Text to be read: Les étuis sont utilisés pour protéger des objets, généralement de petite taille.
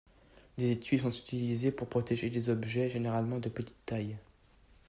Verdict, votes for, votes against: accepted, 2, 0